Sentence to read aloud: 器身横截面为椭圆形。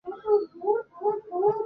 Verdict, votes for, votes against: rejected, 1, 3